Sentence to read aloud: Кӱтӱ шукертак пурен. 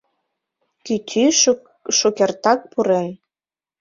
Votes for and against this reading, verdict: 0, 2, rejected